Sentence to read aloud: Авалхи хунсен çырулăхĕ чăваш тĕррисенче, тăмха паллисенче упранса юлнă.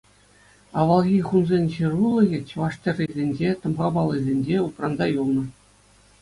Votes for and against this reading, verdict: 2, 0, accepted